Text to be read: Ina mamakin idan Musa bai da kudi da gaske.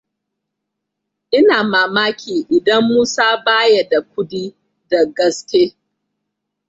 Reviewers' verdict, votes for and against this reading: rejected, 0, 2